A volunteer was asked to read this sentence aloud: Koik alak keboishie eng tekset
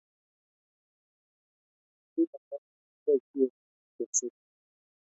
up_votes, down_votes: 2, 1